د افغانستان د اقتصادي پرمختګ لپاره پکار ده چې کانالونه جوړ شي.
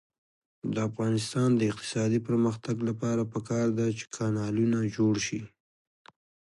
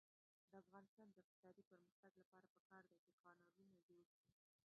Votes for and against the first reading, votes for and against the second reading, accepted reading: 2, 1, 0, 2, first